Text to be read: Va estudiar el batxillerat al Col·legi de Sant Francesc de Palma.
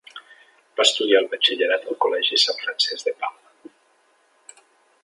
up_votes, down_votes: 1, 2